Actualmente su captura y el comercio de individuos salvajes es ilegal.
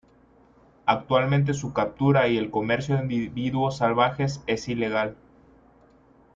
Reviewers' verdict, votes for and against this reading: accepted, 2, 1